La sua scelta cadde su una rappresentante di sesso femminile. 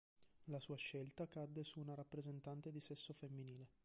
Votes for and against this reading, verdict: 2, 0, accepted